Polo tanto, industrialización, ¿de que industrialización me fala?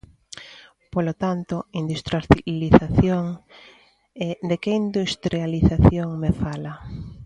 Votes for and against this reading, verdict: 0, 3, rejected